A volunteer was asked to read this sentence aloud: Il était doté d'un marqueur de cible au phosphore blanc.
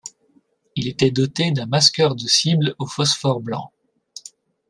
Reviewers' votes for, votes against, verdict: 0, 2, rejected